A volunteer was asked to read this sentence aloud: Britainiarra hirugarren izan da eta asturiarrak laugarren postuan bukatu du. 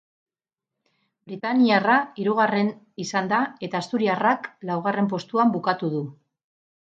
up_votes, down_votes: 4, 4